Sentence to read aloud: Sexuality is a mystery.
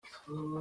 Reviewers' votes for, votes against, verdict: 0, 2, rejected